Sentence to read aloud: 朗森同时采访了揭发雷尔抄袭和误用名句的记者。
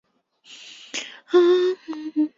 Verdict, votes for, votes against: rejected, 0, 2